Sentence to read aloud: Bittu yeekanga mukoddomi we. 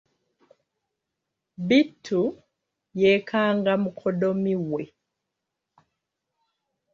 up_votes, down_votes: 2, 0